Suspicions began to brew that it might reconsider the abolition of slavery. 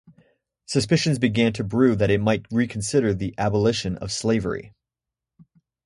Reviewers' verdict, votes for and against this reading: rejected, 0, 2